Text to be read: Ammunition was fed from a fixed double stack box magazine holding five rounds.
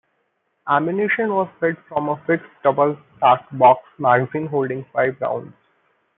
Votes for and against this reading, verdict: 0, 2, rejected